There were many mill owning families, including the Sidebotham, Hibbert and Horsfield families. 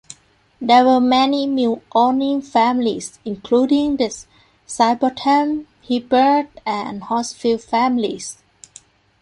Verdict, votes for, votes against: rejected, 1, 2